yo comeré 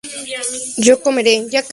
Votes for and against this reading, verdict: 2, 0, accepted